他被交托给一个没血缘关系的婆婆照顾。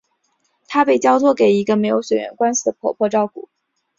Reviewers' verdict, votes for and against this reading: accepted, 2, 0